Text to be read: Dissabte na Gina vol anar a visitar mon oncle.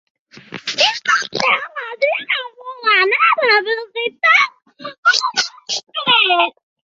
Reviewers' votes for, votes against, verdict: 1, 2, rejected